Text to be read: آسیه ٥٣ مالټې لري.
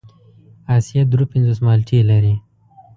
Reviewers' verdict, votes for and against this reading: rejected, 0, 2